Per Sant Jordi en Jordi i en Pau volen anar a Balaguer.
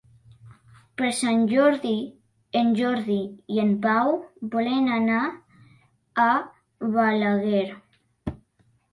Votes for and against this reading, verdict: 3, 0, accepted